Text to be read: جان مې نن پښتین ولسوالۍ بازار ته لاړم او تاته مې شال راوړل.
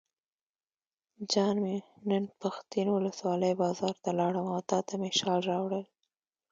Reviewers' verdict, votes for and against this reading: rejected, 1, 2